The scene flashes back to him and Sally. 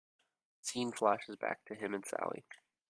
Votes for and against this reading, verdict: 1, 2, rejected